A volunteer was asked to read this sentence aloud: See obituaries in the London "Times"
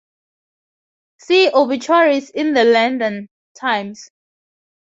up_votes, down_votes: 0, 2